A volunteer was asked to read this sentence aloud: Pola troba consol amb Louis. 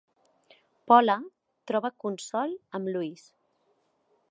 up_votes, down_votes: 2, 0